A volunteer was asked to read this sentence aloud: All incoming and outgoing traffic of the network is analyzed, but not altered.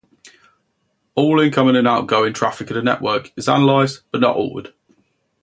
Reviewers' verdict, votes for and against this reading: accepted, 2, 0